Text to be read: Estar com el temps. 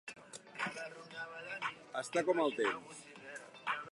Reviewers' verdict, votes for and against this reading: accepted, 3, 2